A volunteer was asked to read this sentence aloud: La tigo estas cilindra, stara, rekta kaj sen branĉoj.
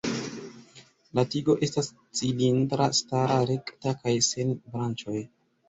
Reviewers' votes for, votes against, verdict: 1, 2, rejected